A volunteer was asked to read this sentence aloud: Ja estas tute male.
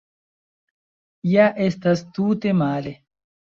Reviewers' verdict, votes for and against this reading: accepted, 2, 0